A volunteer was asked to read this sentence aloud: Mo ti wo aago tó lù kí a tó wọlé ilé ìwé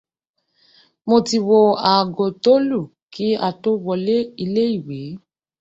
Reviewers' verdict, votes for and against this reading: accepted, 2, 0